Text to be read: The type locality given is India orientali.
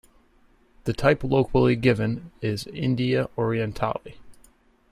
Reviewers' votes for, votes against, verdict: 1, 2, rejected